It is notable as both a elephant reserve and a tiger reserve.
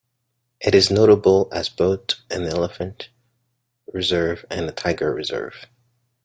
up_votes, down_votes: 0, 2